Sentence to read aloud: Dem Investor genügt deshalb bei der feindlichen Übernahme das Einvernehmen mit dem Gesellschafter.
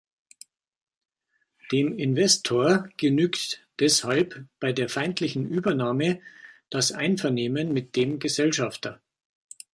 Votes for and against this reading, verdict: 2, 0, accepted